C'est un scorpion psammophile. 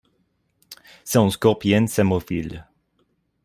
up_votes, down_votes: 1, 2